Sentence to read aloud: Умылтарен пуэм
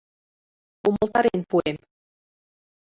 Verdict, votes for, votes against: rejected, 1, 2